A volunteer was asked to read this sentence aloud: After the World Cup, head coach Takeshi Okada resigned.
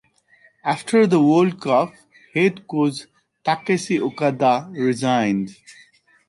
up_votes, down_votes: 0, 2